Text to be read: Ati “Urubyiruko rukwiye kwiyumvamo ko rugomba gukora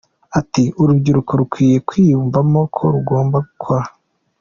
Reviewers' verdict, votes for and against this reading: accepted, 2, 1